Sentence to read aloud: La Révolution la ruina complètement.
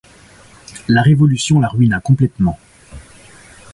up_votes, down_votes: 2, 0